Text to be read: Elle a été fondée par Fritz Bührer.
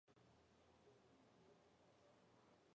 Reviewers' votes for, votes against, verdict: 1, 2, rejected